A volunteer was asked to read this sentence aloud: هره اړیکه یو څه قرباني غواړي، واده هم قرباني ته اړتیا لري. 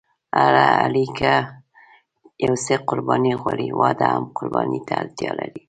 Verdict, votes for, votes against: rejected, 1, 2